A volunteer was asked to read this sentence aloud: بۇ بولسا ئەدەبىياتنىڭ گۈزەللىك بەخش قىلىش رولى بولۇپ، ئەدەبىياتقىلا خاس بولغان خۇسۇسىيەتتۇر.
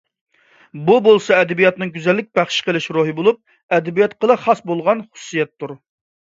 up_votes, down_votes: 3, 0